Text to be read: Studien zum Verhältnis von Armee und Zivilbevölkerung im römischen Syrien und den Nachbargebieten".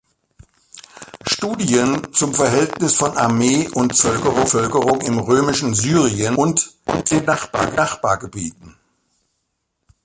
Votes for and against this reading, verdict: 0, 2, rejected